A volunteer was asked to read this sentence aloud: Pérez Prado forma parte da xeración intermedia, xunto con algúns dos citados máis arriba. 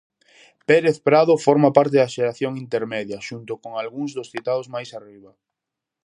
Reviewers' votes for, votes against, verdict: 4, 0, accepted